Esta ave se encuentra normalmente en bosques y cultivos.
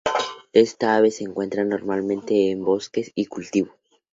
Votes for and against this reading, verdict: 2, 0, accepted